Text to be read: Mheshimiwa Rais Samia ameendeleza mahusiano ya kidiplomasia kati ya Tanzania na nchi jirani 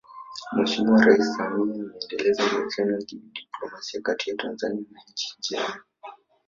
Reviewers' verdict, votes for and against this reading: rejected, 1, 3